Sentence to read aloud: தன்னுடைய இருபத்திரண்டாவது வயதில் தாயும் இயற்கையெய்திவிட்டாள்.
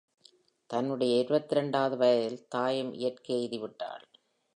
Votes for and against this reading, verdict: 2, 1, accepted